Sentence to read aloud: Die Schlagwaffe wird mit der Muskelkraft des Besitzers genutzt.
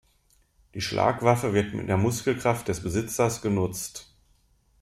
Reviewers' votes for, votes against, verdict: 2, 0, accepted